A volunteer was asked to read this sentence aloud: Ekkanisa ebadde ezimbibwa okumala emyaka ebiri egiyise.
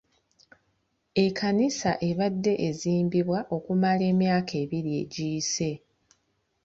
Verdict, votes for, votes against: rejected, 0, 2